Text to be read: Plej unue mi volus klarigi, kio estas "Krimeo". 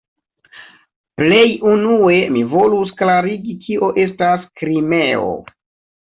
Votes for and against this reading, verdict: 1, 2, rejected